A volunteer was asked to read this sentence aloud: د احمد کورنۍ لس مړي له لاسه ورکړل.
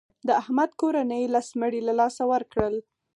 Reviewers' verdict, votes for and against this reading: accepted, 4, 0